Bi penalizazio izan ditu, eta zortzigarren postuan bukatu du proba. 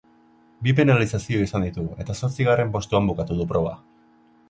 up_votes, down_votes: 3, 0